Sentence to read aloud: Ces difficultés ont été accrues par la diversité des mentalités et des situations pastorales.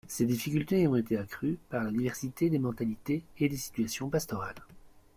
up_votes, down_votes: 2, 0